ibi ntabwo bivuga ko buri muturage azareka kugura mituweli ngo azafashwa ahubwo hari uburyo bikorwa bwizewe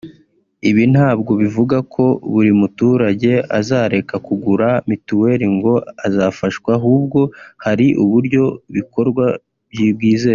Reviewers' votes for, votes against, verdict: 2, 3, rejected